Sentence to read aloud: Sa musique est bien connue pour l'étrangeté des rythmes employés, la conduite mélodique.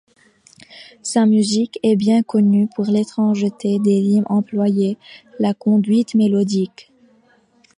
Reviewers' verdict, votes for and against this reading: accepted, 2, 1